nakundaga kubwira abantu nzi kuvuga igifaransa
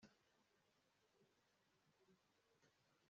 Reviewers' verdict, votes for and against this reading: rejected, 0, 2